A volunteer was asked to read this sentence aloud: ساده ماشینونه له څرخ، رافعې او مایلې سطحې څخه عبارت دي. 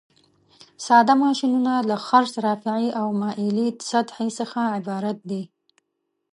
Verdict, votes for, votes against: rejected, 0, 2